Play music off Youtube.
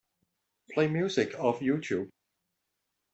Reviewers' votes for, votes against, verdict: 2, 0, accepted